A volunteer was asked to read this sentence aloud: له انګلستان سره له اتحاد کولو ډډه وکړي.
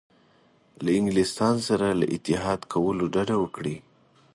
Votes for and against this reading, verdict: 2, 0, accepted